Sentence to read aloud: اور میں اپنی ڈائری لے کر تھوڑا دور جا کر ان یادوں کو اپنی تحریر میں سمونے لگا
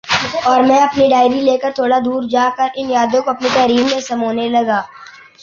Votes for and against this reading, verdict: 2, 1, accepted